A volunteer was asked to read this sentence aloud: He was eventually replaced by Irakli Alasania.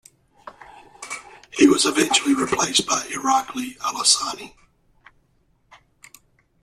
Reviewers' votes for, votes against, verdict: 1, 2, rejected